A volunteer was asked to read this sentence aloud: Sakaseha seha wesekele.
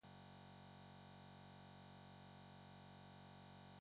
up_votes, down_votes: 1, 2